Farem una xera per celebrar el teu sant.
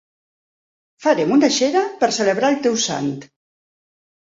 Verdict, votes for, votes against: accepted, 4, 0